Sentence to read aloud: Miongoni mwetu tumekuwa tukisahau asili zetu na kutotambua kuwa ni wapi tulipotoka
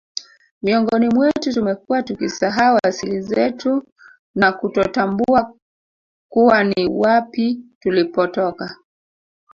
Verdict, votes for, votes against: rejected, 1, 2